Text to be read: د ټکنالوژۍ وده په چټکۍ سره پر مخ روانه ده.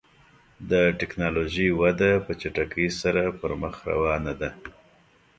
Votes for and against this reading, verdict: 2, 0, accepted